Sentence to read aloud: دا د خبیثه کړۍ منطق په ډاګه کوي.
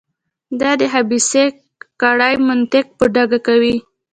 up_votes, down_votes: 0, 2